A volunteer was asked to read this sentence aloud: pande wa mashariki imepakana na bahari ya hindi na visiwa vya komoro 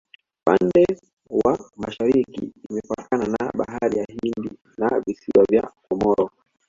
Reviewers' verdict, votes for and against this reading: rejected, 0, 2